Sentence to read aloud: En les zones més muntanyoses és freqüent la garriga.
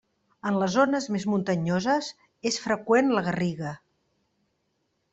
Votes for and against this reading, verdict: 3, 1, accepted